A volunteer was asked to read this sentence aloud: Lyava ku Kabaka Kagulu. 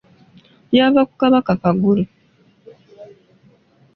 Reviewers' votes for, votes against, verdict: 0, 2, rejected